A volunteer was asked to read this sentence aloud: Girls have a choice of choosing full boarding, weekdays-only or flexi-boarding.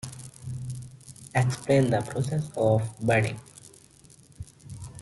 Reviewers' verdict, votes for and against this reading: rejected, 0, 2